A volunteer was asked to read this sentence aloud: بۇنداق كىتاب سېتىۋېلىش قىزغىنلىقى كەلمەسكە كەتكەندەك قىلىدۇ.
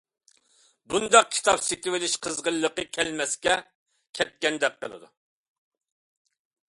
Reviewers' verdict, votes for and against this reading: accepted, 2, 0